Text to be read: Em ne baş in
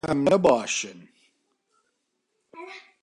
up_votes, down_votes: 0, 2